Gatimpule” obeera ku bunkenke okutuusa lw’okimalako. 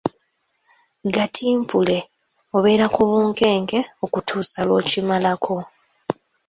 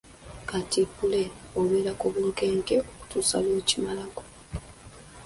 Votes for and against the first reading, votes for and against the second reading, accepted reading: 3, 0, 0, 2, first